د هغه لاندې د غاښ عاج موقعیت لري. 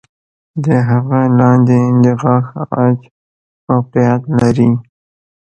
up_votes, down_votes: 1, 2